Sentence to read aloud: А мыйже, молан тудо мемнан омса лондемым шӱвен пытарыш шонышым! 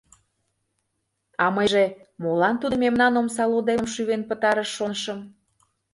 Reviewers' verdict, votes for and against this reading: rejected, 0, 2